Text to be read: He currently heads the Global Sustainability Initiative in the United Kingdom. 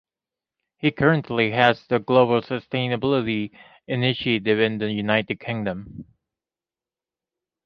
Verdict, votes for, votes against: accepted, 2, 0